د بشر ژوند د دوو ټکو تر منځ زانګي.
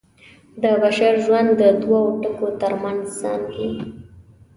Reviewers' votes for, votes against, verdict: 2, 0, accepted